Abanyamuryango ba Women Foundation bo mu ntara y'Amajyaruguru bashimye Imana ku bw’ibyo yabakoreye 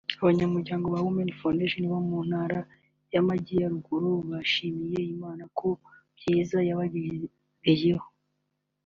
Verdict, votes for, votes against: rejected, 1, 2